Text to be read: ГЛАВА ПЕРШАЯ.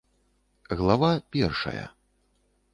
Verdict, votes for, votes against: accepted, 2, 0